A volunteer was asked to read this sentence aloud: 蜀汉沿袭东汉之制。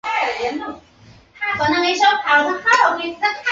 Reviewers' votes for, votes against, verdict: 0, 3, rejected